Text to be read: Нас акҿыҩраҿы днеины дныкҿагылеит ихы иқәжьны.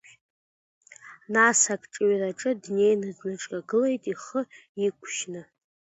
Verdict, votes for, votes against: accepted, 2, 0